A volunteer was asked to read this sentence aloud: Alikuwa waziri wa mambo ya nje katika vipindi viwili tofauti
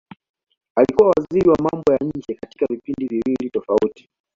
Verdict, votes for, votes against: accepted, 2, 1